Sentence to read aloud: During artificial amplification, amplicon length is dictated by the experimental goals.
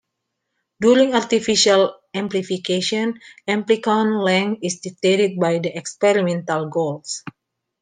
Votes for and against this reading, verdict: 2, 0, accepted